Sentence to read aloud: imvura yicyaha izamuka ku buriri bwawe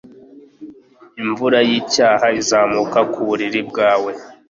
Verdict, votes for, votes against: accepted, 2, 0